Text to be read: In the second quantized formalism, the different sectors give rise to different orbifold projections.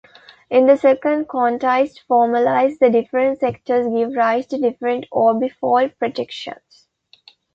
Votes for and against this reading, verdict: 0, 2, rejected